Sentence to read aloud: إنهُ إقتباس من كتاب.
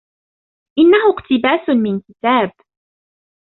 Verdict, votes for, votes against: accepted, 2, 0